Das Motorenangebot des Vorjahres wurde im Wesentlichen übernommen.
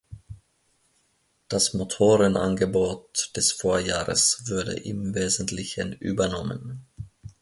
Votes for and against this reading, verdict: 0, 3, rejected